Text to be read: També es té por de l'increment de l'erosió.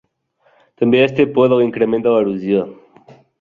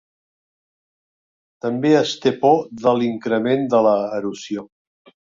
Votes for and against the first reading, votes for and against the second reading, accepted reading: 3, 0, 1, 2, first